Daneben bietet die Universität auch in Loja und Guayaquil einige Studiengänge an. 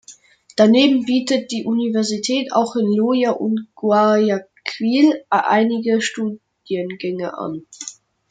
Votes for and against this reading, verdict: 1, 2, rejected